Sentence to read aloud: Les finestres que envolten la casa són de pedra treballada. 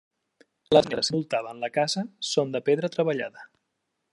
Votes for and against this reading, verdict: 0, 2, rejected